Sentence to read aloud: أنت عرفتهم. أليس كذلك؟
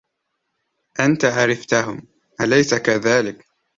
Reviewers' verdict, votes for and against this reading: accepted, 2, 0